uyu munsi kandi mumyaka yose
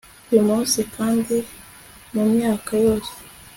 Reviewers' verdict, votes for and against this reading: accepted, 2, 0